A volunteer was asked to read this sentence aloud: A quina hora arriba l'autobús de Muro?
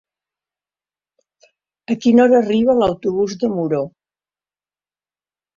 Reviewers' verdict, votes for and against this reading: rejected, 0, 2